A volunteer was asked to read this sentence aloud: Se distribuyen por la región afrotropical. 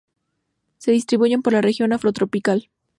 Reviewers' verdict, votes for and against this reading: accepted, 4, 0